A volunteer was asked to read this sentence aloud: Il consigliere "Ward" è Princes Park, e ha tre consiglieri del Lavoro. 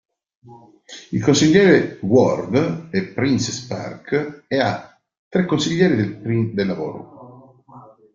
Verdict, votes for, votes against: rejected, 1, 2